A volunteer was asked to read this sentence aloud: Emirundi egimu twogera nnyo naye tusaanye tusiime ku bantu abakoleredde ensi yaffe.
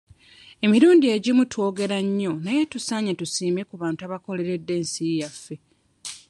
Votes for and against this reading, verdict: 2, 0, accepted